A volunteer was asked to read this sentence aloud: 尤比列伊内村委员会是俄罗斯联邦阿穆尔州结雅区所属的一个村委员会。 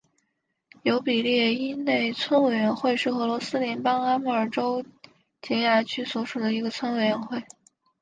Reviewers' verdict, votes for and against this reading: accepted, 6, 0